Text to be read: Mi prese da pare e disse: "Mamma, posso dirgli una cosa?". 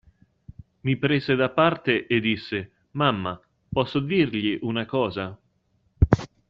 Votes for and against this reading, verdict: 1, 2, rejected